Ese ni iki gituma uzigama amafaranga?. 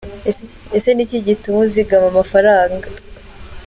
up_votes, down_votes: 2, 0